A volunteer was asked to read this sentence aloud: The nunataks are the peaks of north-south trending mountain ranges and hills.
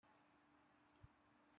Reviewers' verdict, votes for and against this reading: rejected, 1, 2